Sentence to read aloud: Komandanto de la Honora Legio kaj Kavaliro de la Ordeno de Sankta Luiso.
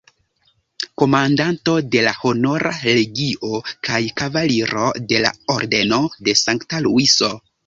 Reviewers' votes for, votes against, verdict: 0, 2, rejected